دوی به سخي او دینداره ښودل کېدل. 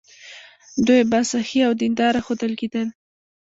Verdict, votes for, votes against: rejected, 1, 2